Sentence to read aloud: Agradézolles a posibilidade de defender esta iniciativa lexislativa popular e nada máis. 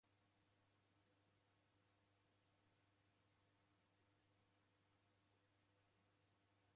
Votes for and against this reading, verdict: 0, 2, rejected